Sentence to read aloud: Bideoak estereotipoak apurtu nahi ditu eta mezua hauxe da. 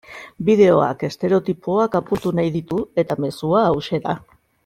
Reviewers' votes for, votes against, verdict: 2, 0, accepted